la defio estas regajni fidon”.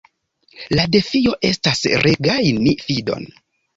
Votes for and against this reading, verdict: 2, 0, accepted